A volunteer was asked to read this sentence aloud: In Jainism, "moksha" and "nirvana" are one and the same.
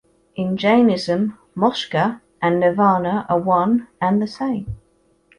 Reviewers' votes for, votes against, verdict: 1, 2, rejected